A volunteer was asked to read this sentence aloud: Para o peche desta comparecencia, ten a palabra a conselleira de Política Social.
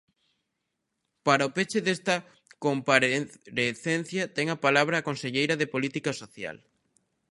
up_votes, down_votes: 0, 2